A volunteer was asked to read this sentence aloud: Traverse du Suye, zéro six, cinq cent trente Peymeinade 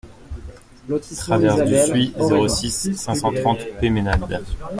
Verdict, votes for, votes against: accepted, 2, 0